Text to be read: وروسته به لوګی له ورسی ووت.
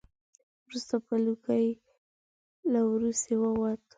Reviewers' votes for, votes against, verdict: 0, 2, rejected